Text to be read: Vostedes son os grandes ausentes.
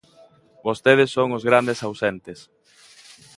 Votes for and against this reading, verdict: 2, 0, accepted